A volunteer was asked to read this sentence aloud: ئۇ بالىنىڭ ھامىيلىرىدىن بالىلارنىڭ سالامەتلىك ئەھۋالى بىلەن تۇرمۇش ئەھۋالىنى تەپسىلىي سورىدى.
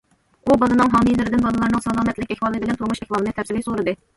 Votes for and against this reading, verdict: 1, 2, rejected